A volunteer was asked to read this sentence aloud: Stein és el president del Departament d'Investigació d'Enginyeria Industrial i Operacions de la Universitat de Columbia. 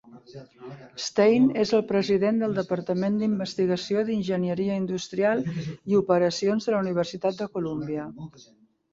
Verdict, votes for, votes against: accepted, 2, 0